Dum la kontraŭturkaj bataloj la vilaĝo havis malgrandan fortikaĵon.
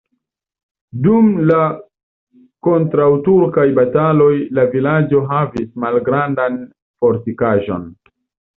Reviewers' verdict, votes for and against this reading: accepted, 2, 0